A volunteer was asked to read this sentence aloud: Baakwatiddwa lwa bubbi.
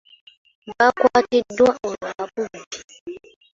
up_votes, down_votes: 1, 2